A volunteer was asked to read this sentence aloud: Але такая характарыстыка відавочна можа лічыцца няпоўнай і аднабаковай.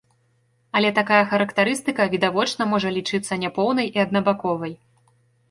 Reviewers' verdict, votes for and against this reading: accepted, 2, 0